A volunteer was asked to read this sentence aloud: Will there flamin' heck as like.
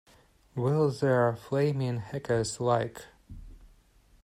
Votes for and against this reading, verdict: 2, 0, accepted